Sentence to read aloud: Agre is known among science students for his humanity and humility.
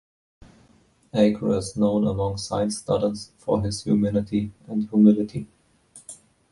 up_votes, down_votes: 1, 2